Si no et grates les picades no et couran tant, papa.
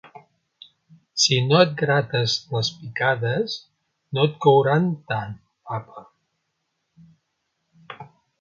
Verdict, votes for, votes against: accepted, 3, 0